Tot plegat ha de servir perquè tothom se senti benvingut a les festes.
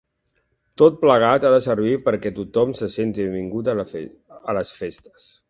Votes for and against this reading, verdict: 1, 2, rejected